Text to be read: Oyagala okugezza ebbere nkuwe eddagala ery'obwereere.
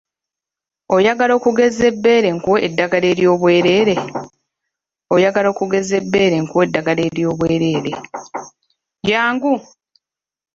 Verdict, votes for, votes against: rejected, 0, 2